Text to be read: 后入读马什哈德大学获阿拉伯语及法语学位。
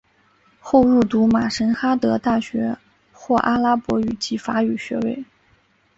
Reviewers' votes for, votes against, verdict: 0, 2, rejected